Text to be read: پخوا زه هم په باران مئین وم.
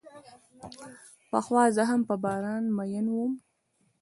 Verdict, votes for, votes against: rejected, 1, 2